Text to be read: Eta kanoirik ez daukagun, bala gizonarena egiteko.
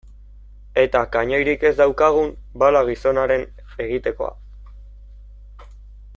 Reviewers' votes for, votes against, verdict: 0, 2, rejected